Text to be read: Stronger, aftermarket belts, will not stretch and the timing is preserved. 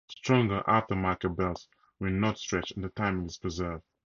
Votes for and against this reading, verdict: 2, 2, rejected